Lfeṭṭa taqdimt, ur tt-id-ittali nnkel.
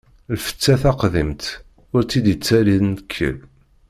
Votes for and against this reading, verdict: 0, 2, rejected